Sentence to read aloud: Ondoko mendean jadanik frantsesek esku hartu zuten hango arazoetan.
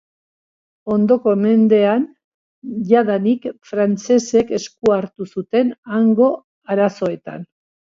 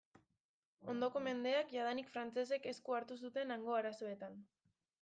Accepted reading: first